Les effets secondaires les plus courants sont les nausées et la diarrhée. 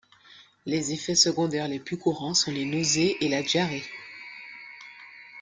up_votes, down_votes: 1, 2